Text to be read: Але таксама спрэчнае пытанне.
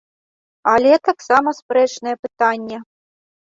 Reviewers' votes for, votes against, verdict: 2, 0, accepted